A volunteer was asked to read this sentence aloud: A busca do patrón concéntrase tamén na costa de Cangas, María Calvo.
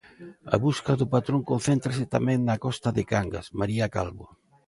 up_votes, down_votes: 2, 0